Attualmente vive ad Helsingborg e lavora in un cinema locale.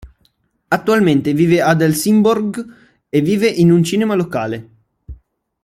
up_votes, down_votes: 1, 2